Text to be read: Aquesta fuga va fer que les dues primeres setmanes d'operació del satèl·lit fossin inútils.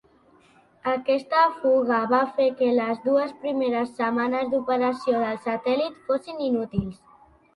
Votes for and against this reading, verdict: 2, 0, accepted